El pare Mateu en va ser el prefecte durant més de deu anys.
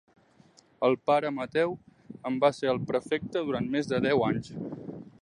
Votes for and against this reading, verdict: 3, 0, accepted